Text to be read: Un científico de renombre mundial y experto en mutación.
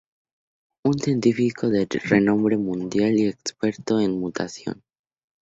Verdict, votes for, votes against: accepted, 2, 0